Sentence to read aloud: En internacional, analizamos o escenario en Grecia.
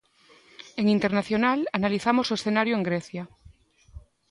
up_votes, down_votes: 2, 0